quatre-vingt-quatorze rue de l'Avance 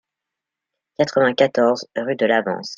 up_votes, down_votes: 2, 0